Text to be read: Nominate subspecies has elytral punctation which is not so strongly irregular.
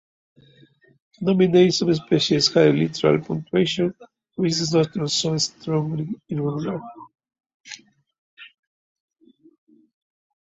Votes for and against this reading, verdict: 0, 2, rejected